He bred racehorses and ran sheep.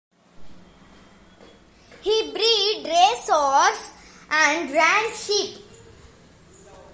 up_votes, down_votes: 0, 2